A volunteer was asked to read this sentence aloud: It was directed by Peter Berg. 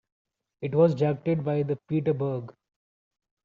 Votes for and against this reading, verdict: 1, 2, rejected